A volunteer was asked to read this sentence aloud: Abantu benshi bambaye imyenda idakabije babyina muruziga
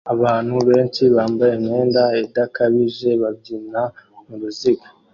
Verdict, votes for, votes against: accepted, 2, 0